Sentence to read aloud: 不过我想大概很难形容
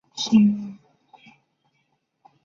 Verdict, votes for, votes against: rejected, 2, 3